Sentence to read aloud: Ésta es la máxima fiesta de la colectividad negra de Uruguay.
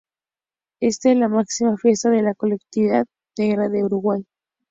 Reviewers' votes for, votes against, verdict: 2, 0, accepted